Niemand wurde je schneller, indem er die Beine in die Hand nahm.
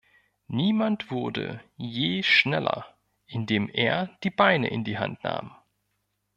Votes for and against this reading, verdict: 1, 2, rejected